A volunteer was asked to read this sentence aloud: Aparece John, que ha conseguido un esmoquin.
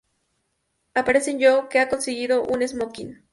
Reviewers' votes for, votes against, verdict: 0, 2, rejected